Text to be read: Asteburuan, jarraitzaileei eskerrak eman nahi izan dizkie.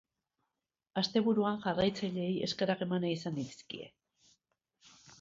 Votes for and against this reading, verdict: 2, 0, accepted